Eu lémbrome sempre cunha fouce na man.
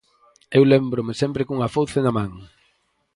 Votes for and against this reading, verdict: 4, 0, accepted